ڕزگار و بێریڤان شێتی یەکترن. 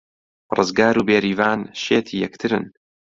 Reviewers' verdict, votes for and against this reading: accepted, 2, 0